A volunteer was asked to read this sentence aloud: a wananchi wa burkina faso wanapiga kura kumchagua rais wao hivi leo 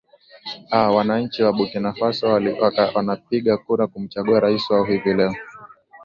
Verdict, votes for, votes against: rejected, 0, 3